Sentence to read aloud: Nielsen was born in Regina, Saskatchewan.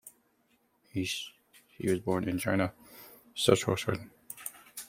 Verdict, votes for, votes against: accepted, 2, 1